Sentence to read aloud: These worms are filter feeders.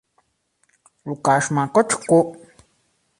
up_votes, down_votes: 0, 2